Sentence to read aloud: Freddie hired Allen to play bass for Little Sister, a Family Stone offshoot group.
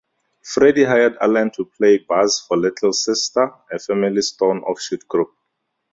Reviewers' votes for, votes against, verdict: 2, 0, accepted